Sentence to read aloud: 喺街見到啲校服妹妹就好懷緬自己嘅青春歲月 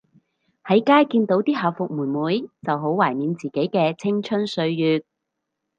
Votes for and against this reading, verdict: 4, 0, accepted